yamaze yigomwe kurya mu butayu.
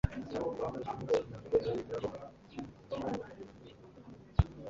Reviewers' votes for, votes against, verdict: 0, 2, rejected